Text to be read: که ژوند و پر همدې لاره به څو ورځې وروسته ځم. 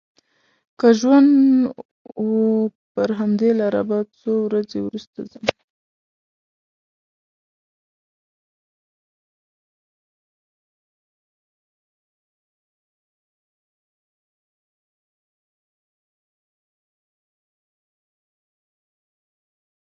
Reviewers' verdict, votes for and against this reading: rejected, 0, 2